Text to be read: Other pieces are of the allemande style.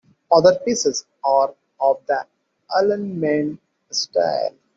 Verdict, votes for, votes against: rejected, 0, 2